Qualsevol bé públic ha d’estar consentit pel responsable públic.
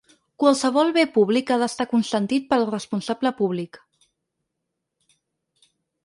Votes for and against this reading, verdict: 6, 0, accepted